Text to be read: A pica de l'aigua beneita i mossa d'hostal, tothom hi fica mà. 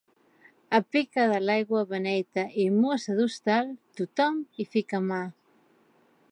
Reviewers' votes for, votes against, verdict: 2, 0, accepted